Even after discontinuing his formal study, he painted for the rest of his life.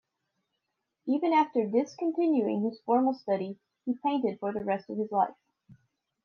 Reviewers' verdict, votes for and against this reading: accepted, 2, 0